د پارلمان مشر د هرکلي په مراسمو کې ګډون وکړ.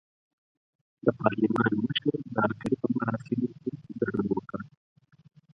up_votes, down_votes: 2, 4